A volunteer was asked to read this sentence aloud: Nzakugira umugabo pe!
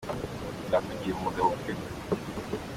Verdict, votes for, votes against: accepted, 2, 0